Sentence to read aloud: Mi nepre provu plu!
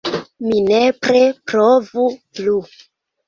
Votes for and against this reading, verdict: 2, 0, accepted